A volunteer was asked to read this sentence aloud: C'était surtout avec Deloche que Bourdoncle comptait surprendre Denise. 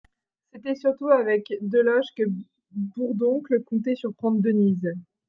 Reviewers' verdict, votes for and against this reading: rejected, 1, 2